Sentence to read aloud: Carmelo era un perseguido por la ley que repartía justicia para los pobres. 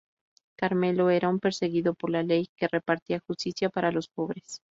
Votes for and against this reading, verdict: 4, 0, accepted